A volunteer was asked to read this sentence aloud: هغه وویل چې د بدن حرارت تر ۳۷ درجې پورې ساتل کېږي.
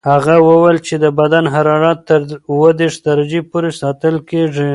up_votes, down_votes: 0, 2